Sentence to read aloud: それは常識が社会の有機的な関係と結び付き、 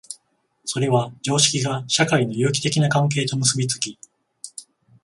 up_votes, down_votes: 14, 0